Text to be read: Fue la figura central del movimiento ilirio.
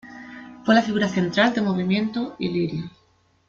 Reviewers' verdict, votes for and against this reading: accepted, 2, 1